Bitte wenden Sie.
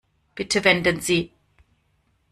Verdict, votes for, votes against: accepted, 2, 0